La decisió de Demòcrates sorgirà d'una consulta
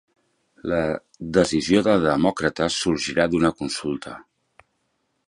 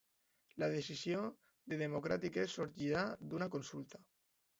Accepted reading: first